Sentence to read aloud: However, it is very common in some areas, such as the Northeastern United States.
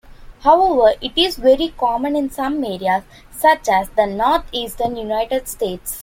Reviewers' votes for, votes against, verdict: 2, 1, accepted